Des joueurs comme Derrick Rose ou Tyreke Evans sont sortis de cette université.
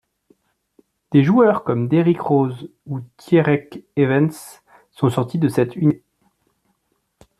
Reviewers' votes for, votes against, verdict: 1, 2, rejected